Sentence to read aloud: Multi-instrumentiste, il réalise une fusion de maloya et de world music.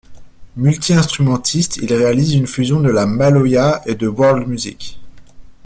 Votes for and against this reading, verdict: 1, 2, rejected